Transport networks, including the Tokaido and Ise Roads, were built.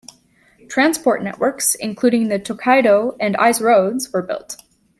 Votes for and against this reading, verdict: 1, 2, rejected